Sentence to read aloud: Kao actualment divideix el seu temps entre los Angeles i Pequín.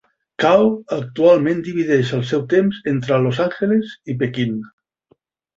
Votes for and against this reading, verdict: 4, 1, accepted